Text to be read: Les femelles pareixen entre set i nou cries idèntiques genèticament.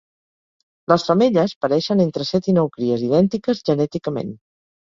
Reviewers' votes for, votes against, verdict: 2, 0, accepted